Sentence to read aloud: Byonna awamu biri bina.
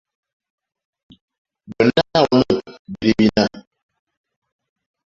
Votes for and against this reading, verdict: 1, 2, rejected